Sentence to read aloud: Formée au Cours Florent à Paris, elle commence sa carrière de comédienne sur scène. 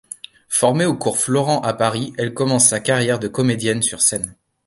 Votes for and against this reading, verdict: 2, 0, accepted